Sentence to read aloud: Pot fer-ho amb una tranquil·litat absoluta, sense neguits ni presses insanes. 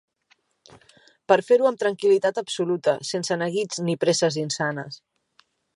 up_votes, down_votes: 1, 3